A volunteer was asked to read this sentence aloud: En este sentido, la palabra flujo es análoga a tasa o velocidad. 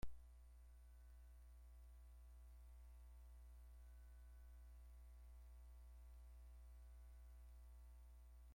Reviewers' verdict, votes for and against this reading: rejected, 0, 2